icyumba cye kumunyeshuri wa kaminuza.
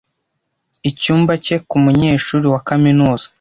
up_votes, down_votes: 1, 2